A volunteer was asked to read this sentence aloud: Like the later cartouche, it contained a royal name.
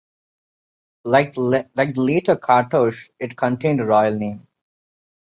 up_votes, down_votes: 0, 2